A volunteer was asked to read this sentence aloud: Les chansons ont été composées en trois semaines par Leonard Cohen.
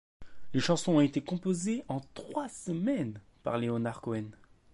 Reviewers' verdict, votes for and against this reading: rejected, 1, 2